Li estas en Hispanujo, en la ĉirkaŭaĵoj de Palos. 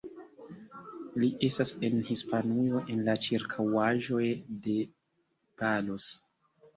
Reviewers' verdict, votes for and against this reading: accepted, 2, 0